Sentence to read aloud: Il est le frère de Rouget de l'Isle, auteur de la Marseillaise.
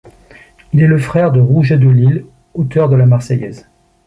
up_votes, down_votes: 3, 0